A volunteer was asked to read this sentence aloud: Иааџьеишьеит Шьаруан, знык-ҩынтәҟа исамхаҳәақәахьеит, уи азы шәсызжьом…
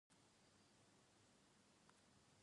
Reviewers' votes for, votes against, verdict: 1, 2, rejected